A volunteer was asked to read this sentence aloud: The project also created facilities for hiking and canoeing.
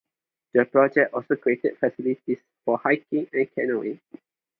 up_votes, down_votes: 0, 2